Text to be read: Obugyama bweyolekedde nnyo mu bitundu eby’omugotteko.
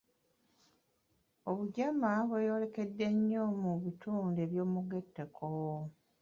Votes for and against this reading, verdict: 1, 2, rejected